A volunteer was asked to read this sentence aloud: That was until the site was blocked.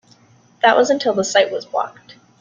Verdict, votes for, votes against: accepted, 3, 0